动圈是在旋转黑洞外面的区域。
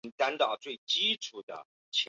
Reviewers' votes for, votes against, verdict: 4, 0, accepted